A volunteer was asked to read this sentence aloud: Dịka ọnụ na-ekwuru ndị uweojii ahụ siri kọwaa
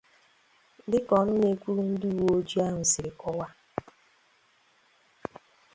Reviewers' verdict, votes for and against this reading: accepted, 2, 0